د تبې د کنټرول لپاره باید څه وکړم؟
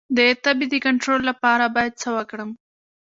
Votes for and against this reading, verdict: 2, 0, accepted